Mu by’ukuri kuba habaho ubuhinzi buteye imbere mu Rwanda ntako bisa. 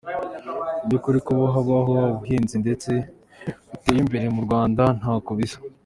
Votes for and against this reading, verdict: 2, 1, accepted